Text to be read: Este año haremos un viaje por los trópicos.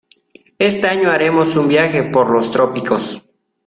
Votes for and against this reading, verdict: 2, 0, accepted